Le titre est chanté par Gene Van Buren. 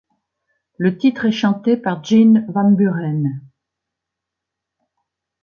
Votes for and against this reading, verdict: 2, 0, accepted